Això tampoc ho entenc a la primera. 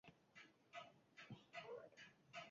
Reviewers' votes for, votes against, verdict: 0, 2, rejected